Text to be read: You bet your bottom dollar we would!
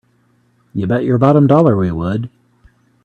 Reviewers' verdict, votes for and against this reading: rejected, 1, 2